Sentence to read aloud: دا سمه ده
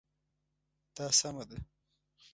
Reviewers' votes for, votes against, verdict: 2, 0, accepted